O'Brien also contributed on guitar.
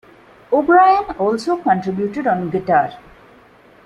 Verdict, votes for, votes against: accepted, 2, 0